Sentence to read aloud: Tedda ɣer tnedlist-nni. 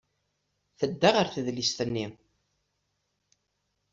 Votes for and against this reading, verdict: 1, 2, rejected